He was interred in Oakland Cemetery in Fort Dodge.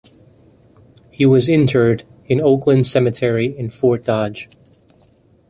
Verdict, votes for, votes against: rejected, 1, 2